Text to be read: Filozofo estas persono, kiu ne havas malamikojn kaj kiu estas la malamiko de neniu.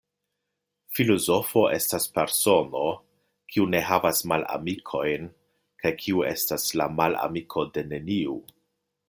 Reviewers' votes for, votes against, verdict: 2, 0, accepted